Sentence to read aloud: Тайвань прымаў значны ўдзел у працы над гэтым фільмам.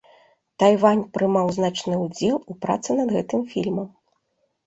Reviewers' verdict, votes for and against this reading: accepted, 2, 0